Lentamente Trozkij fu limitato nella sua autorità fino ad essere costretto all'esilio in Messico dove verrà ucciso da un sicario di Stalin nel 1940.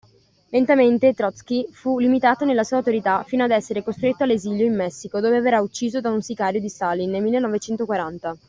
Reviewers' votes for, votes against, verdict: 0, 2, rejected